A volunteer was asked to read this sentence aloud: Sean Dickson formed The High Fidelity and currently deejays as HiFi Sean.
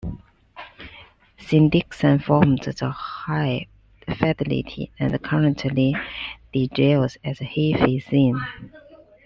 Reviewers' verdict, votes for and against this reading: rejected, 1, 2